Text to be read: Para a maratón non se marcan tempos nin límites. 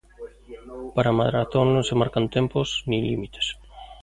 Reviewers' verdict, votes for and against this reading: accepted, 2, 0